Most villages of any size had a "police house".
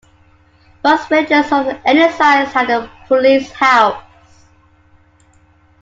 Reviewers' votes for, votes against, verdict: 2, 1, accepted